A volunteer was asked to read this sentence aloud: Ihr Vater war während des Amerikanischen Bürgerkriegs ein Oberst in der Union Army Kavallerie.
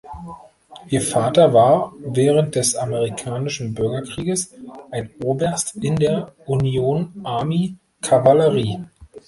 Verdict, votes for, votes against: rejected, 1, 2